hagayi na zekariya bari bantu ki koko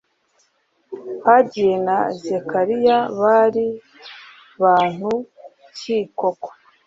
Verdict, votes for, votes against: accepted, 2, 0